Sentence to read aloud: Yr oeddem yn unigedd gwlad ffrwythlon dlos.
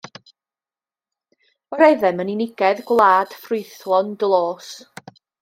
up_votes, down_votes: 2, 0